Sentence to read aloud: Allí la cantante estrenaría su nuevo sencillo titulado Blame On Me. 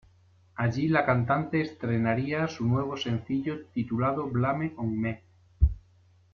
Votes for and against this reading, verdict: 1, 2, rejected